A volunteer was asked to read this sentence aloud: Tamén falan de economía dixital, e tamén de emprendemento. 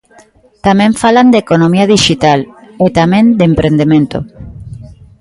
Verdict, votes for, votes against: accepted, 2, 1